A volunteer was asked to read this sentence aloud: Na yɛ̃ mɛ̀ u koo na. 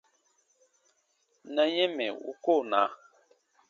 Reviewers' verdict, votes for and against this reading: accepted, 2, 0